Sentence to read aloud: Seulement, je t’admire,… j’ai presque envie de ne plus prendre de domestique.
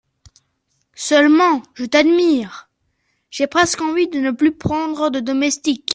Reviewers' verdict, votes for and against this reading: accepted, 2, 0